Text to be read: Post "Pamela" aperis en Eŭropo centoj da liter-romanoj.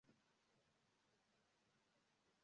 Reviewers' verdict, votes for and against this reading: rejected, 0, 3